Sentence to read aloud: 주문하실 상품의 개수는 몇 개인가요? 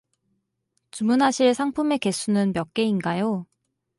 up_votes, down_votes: 4, 0